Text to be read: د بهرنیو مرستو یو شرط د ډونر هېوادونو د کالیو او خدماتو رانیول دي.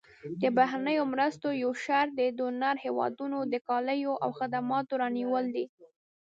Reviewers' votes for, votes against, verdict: 0, 2, rejected